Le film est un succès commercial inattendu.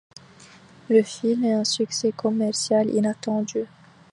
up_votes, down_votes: 2, 0